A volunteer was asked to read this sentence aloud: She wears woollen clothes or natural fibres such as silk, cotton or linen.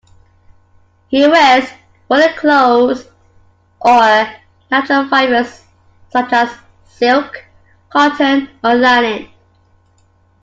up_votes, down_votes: 2, 0